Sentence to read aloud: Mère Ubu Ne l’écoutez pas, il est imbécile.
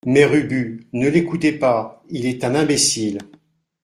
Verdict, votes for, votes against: rejected, 0, 2